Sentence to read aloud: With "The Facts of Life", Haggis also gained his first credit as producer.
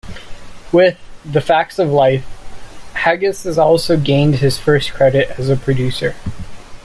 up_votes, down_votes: 0, 2